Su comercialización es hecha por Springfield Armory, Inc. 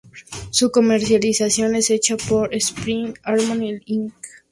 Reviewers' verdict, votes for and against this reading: rejected, 0, 2